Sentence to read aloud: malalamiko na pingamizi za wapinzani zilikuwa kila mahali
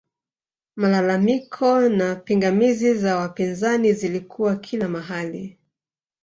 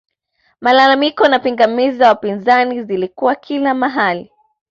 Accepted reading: second